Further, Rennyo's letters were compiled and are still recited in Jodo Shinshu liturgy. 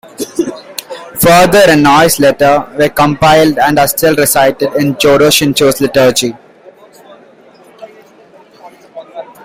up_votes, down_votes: 2, 1